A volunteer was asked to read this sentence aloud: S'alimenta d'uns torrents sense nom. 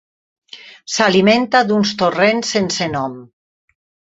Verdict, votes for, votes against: accepted, 4, 0